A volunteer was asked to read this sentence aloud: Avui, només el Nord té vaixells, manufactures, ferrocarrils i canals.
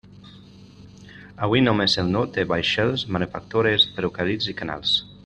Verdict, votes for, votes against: rejected, 0, 2